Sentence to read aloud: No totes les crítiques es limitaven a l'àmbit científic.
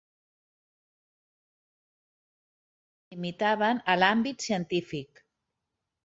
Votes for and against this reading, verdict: 0, 2, rejected